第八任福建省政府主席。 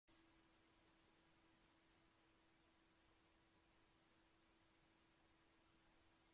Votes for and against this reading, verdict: 0, 2, rejected